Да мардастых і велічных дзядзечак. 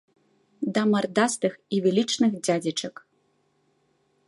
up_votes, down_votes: 2, 0